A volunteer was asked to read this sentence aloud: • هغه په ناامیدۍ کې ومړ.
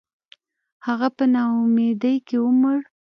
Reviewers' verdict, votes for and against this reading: accepted, 3, 0